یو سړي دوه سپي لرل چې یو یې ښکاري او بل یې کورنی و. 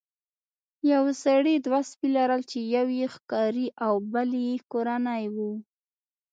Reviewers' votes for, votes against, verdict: 2, 0, accepted